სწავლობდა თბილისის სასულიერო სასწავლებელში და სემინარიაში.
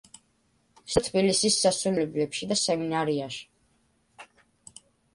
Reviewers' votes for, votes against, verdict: 1, 2, rejected